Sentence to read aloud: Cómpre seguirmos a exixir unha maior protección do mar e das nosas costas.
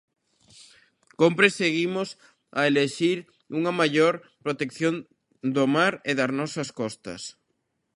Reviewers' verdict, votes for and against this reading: rejected, 0, 2